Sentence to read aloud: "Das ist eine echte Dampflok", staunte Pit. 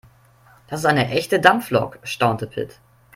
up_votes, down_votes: 2, 0